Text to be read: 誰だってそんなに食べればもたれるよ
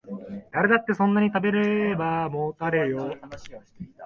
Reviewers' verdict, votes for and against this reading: accepted, 2, 1